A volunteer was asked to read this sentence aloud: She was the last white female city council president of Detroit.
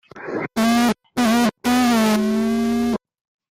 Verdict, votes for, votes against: rejected, 0, 2